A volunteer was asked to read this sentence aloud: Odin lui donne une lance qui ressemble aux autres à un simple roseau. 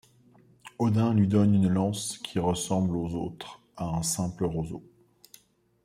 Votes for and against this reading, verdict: 2, 0, accepted